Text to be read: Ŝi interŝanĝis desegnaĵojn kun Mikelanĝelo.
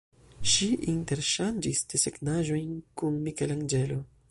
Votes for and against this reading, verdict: 1, 2, rejected